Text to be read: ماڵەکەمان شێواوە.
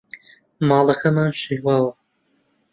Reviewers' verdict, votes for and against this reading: accepted, 2, 0